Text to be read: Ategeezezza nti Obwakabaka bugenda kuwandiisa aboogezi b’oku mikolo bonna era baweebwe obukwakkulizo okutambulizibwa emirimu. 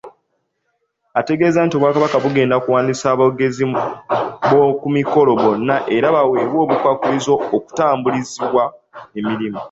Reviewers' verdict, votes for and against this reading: rejected, 0, 2